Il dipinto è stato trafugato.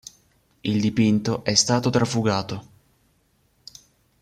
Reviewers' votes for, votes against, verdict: 3, 0, accepted